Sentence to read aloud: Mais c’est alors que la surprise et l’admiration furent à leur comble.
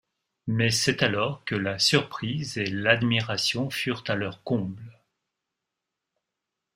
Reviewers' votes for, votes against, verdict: 2, 0, accepted